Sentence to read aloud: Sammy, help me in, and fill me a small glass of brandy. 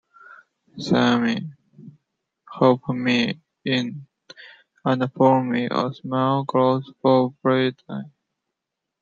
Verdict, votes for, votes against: rejected, 1, 2